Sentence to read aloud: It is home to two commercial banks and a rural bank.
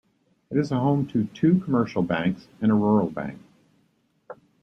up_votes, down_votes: 2, 0